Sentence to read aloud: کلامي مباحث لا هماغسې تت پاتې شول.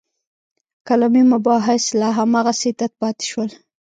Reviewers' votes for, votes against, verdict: 1, 2, rejected